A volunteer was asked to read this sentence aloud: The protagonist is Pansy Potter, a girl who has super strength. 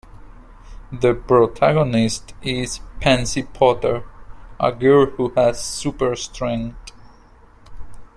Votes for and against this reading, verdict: 2, 0, accepted